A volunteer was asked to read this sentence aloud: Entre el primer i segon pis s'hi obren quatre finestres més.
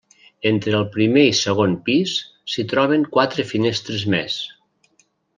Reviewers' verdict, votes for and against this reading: rejected, 1, 2